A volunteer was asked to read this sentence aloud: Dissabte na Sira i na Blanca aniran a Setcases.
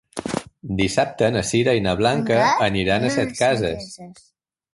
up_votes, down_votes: 1, 3